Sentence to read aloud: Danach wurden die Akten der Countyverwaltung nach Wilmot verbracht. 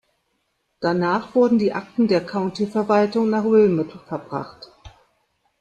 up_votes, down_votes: 2, 0